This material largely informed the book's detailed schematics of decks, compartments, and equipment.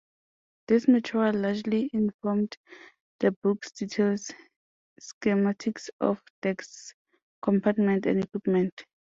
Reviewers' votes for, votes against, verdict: 2, 4, rejected